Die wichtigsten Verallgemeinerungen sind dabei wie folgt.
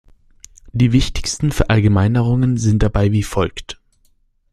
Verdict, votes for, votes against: rejected, 1, 2